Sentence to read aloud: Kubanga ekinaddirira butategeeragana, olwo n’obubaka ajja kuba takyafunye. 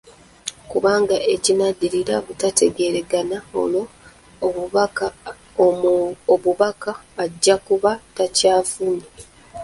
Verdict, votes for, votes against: rejected, 1, 2